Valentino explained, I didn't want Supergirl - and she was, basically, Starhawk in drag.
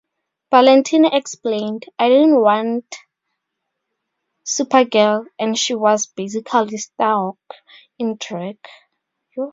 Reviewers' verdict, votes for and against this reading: accepted, 2, 0